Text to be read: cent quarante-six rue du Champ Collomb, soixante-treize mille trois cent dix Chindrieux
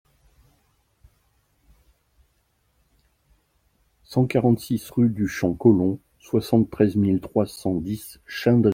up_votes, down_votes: 0, 2